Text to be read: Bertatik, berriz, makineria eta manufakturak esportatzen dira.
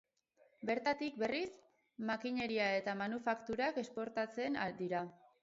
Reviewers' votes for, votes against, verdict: 0, 2, rejected